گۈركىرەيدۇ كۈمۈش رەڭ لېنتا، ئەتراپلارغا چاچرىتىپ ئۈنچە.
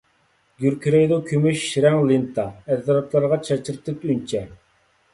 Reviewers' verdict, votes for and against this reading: accepted, 2, 1